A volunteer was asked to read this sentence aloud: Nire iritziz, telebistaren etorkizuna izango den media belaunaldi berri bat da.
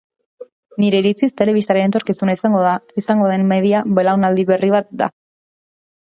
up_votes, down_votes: 0, 2